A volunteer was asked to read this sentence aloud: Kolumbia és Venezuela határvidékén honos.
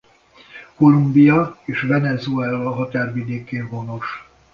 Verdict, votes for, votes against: accepted, 2, 0